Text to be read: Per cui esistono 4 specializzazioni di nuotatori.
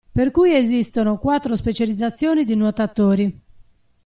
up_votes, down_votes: 0, 2